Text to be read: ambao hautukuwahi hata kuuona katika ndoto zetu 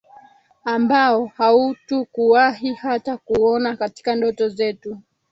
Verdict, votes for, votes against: rejected, 1, 2